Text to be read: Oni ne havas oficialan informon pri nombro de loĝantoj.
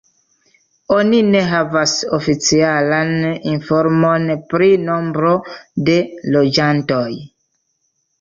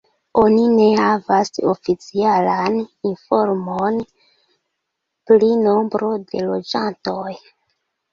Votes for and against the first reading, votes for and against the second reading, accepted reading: 2, 0, 0, 2, first